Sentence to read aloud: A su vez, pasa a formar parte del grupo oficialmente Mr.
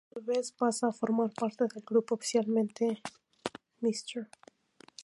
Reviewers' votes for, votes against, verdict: 0, 4, rejected